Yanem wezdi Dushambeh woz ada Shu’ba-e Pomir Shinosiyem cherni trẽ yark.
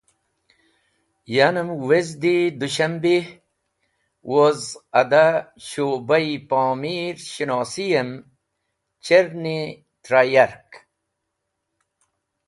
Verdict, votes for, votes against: accepted, 2, 0